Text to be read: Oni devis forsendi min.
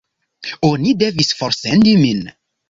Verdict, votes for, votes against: rejected, 0, 2